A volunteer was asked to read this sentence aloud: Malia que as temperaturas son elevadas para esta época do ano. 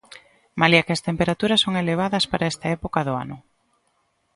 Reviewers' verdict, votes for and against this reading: accepted, 2, 0